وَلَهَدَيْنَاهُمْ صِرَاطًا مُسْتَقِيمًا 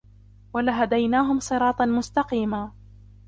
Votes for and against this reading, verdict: 2, 0, accepted